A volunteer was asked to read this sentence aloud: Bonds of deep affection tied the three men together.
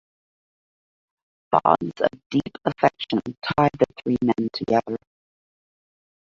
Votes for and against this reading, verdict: 0, 2, rejected